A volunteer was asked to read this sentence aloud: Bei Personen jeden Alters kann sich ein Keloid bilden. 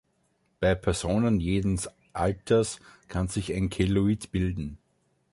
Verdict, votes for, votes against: rejected, 0, 2